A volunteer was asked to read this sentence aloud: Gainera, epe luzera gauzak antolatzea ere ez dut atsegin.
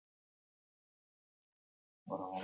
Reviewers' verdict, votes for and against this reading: accepted, 2, 0